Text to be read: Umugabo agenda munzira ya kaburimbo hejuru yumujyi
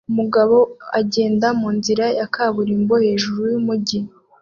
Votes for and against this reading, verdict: 2, 0, accepted